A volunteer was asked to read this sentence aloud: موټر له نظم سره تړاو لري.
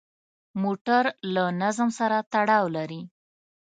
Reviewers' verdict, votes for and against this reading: accepted, 2, 0